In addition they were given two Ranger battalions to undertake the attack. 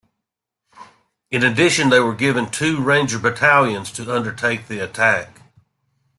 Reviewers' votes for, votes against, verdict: 2, 0, accepted